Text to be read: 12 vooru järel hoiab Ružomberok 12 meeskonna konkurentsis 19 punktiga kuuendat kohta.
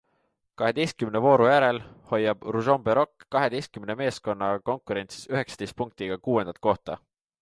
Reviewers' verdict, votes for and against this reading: rejected, 0, 2